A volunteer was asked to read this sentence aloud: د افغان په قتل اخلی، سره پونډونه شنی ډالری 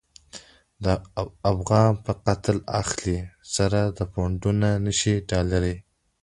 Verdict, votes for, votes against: accepted, 2, 1